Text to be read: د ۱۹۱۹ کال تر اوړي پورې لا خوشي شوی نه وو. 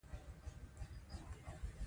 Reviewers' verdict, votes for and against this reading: rejected, 0, 2